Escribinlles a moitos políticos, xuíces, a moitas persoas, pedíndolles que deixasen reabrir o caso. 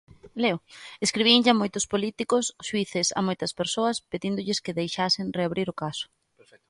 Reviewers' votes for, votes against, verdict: 0, 2, rejected